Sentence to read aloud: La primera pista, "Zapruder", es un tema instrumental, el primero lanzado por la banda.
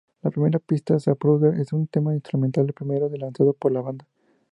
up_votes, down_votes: 0, 2